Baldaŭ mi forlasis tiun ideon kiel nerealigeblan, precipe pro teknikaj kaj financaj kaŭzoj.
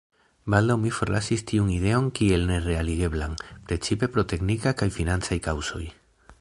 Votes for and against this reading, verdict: 1, 2, rejected